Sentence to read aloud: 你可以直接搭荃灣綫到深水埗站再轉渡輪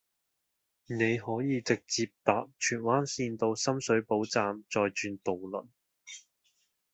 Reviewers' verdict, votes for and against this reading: rejected, 1, 2